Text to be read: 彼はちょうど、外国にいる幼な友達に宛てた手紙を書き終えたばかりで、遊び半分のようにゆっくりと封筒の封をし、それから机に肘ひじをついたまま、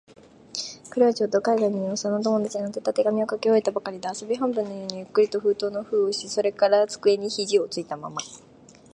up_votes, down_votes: 6, 2